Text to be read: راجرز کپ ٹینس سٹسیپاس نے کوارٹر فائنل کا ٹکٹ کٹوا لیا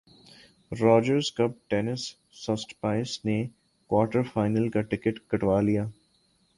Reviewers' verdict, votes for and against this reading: accepted, 2, 0